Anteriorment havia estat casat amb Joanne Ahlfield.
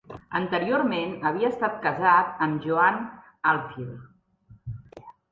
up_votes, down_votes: 3, 0